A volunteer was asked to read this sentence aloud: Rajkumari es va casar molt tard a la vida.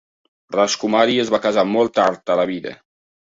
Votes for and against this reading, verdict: 2, 0, accepted